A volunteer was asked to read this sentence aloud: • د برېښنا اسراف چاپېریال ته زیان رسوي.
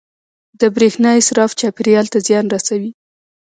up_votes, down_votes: 2, 1